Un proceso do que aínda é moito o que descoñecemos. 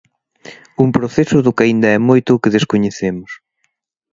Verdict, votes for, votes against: accepted, 2, 0